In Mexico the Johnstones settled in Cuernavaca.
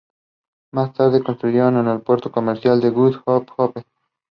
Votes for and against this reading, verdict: 1, 2, rejected